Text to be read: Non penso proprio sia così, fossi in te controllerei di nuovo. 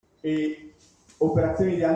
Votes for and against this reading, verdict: 0, 2, rejected